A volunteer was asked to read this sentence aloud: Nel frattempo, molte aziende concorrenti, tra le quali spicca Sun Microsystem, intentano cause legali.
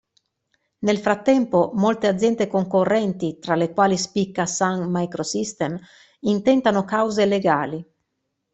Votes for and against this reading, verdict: 2, 0, accepted